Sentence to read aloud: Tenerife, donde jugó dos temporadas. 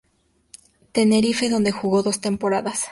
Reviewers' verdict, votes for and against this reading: accepted, 2, 0